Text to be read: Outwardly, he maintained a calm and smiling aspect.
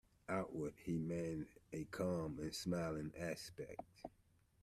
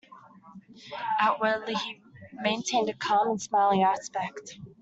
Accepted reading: second